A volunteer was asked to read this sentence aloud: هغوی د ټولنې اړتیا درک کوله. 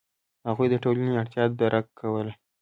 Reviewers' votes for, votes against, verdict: 3, 0, accepted